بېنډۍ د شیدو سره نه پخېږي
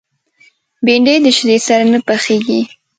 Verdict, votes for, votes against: rejected, 1, 2